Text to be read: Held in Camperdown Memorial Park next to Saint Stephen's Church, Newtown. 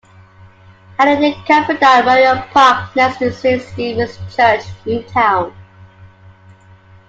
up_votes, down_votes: 1, 2